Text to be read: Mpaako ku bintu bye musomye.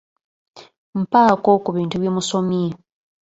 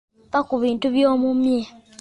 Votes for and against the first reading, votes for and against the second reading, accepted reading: 2, 0, 0, 2, first